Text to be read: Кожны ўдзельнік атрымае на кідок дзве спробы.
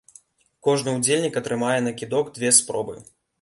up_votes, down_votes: 2, 1